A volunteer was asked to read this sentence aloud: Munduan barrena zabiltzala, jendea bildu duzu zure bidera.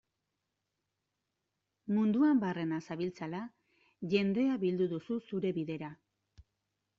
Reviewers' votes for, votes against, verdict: 2, 0, accepted